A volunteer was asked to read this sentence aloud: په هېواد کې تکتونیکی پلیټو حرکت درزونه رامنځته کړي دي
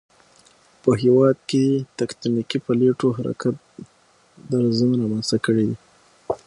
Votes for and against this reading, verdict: 6, 3, accepted